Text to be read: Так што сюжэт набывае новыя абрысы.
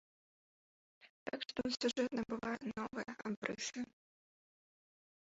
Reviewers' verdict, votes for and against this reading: rejected, 2, 3